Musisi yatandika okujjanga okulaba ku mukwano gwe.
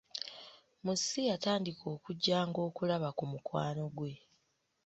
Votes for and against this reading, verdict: 2, 0, accepted